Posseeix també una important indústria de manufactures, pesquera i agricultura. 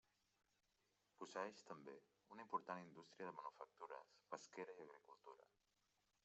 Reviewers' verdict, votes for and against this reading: rejected, 0, 2